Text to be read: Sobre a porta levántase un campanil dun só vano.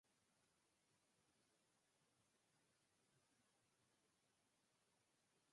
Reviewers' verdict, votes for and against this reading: rejected, 0, 4